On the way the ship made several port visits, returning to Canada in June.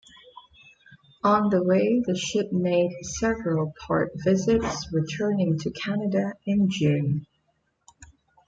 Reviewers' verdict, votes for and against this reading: accepted, 2, 0